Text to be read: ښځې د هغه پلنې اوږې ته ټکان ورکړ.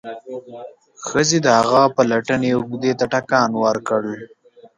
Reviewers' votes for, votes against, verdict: 0, 2, rejected